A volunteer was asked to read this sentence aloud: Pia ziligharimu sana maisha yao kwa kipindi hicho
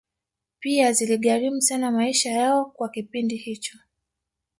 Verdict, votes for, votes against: rejected, 0, 2